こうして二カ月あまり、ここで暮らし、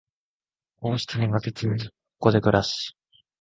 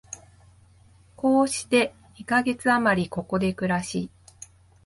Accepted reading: second